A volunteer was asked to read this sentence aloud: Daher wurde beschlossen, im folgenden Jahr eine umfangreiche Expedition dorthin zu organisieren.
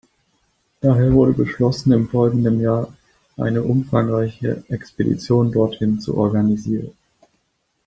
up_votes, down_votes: 2, 1